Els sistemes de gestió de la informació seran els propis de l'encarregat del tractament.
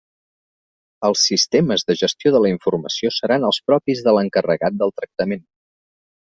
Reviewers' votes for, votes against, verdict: 3, 0, accepted